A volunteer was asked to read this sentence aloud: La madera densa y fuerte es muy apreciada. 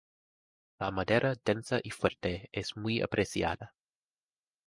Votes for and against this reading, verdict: 0, 2, rejected